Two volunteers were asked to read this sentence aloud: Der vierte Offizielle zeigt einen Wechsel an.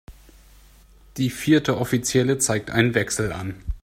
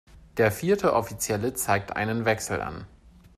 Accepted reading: second